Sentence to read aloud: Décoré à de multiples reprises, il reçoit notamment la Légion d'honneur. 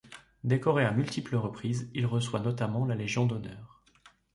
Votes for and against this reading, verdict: 1, 4, rejected